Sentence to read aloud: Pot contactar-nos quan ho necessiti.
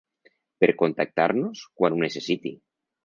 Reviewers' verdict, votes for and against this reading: rejected, 0, 2